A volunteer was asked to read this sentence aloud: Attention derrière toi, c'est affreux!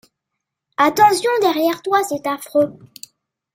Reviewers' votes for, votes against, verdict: 2, 0, accepted